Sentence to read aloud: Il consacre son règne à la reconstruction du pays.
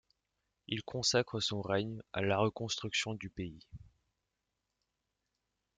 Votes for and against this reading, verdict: 2, 0, accepted